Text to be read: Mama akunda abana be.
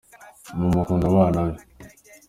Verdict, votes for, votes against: accepted, 2, 0